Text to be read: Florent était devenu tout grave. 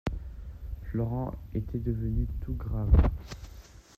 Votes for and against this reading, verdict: 2, 0, accepted